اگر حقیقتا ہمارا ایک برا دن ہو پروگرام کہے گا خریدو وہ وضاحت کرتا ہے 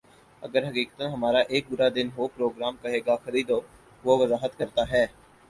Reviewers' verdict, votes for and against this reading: accepted, 4, 0